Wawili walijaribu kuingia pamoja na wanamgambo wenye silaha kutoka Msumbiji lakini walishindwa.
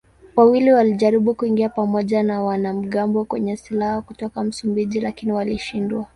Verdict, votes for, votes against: accepted, 2, 0